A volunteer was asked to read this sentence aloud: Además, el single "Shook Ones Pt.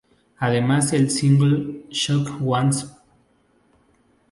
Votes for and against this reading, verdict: 0, 2, rejected